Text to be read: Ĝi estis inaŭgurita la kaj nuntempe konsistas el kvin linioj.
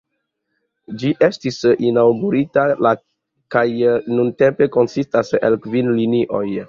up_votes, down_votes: 2, 0